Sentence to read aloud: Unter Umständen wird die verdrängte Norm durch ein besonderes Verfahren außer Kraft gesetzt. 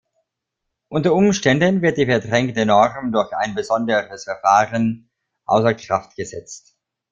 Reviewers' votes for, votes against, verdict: 1, 2, rejected